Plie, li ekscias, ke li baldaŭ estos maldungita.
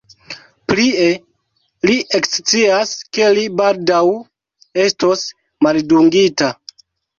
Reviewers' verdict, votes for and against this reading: rejected, 1, 2